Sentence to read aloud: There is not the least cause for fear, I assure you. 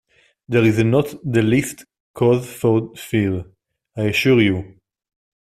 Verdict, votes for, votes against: rejected, 0, 2